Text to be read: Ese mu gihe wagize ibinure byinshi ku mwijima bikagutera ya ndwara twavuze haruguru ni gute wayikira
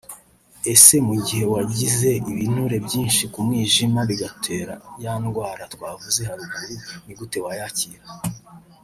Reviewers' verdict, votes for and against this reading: rejected, 0, 2